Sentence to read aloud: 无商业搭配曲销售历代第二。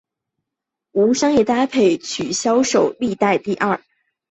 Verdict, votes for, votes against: accepted, 3, 0